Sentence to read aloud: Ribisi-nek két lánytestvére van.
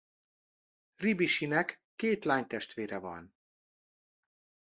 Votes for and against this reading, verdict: 2, 0, accepted